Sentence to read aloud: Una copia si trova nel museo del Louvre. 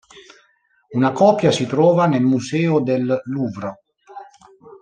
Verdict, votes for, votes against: accepted, 2, 0